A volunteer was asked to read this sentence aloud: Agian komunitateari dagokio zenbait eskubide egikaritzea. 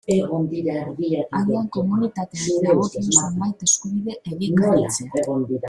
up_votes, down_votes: 0, 2